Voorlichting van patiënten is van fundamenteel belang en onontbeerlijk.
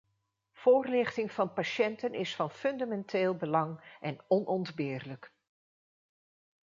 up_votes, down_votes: 2, 0